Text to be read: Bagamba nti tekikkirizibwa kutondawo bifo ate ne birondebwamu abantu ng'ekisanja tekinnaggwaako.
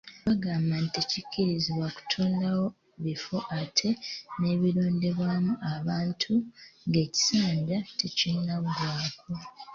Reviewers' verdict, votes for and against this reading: accepted, 2, 0